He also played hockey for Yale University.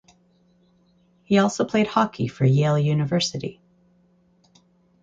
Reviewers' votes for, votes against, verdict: 4, 0, accepted